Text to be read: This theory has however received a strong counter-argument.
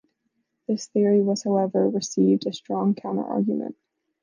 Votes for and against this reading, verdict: 0, 2, rejected